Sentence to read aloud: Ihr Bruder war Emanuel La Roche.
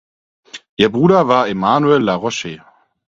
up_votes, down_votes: 4, 0